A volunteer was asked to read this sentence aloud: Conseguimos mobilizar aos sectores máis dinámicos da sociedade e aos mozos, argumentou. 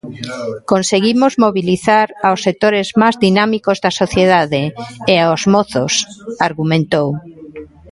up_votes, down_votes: 0, 2